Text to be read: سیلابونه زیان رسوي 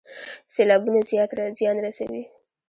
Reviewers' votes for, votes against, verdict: 0, 2, rejected